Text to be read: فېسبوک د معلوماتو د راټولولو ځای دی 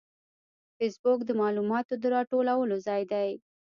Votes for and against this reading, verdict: 2, 0, accepted